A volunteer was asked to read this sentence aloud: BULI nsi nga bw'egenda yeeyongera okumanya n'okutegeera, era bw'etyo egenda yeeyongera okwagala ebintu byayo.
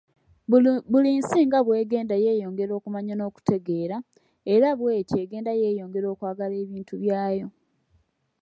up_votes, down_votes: 2, 0